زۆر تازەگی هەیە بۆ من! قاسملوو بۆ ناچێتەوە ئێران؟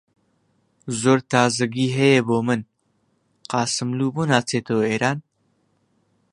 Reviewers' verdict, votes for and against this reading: accepted, 2, 0